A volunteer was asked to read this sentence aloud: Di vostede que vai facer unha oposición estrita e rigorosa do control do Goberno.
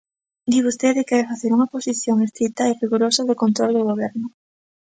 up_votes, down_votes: 2, 0